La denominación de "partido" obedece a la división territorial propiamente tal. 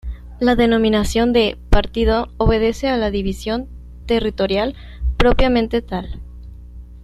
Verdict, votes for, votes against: rejected, 1, 2